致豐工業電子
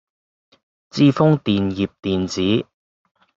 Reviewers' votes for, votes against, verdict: 0, 2, rejected